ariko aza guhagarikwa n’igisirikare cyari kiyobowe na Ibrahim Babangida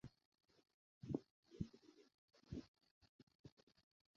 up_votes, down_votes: 0, 2